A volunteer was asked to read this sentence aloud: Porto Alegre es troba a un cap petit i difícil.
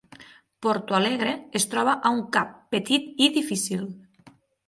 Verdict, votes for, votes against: accepted, 9, 0